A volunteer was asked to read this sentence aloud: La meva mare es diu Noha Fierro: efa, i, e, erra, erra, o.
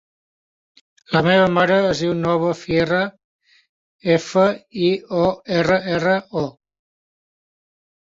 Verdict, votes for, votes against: rejected, 0, 2